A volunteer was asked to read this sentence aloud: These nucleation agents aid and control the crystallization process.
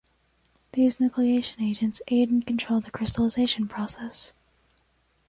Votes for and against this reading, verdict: 2, 0, accepted